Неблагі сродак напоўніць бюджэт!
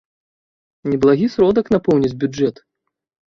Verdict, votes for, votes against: accepted, 2, 0